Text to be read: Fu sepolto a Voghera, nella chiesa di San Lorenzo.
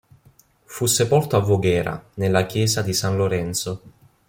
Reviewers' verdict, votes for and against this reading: accepted, 2, 0